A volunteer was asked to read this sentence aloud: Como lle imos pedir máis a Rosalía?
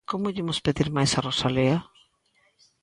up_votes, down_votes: 0, 2